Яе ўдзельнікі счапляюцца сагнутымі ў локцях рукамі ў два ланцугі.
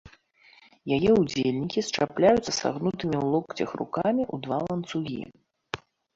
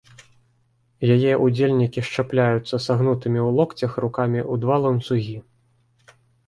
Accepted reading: first